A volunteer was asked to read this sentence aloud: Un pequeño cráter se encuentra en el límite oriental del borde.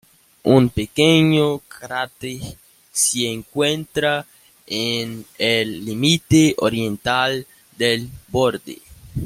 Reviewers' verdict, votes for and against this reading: rejected, 0, 2